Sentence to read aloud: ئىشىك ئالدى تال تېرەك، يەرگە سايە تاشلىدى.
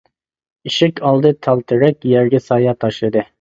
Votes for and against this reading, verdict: 2, 0, accepted